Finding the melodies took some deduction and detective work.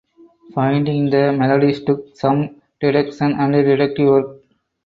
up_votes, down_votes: 2, 4